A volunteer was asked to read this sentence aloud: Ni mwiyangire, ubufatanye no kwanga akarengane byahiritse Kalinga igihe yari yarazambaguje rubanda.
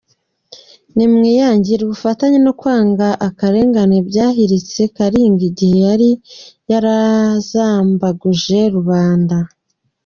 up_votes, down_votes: 2, 0